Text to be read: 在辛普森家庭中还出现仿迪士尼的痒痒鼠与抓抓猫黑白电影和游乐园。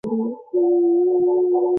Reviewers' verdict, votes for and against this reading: rejected, 0, 2